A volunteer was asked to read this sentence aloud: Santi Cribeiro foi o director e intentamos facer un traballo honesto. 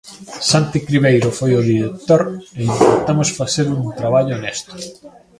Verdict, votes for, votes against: rejected, 1, 2